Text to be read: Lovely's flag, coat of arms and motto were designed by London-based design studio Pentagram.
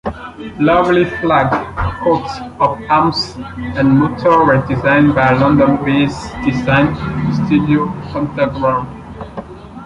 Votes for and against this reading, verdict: 0, 2, rejected